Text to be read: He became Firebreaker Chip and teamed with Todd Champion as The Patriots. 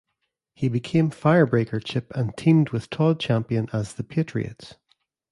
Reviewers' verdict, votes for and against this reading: accepted, 2, 0